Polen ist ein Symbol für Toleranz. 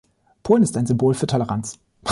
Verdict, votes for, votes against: accepted, 2, 0